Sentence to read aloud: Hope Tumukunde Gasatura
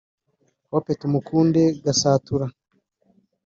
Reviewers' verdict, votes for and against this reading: rejected, 0, 2